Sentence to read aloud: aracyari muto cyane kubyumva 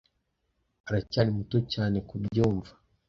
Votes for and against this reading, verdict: 2, 0, accepted